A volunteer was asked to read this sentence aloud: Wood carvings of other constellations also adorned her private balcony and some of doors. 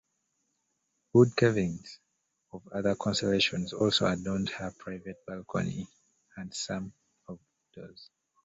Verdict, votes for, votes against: rejected, 0, 2